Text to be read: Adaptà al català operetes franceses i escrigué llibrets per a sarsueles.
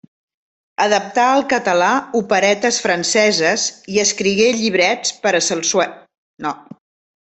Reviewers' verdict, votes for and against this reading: rejected, 0, 2